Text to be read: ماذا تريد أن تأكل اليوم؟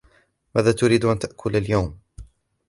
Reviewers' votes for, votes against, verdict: 1, 2, rejected